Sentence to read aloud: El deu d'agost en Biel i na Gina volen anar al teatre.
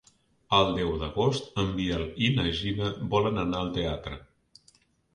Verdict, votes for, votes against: accepted, 2, 0